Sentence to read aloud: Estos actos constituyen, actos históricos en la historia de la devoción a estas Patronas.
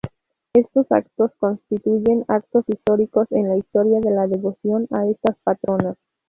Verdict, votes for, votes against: rejected, 0, 2